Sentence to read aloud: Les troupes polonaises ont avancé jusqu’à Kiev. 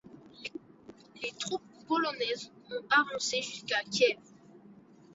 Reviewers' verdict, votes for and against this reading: accepted, 2, 1